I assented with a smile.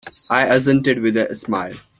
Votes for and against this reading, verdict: 2, 0, accepted